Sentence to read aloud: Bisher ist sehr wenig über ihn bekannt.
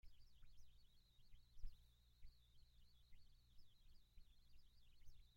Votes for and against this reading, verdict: 0, 2, rejected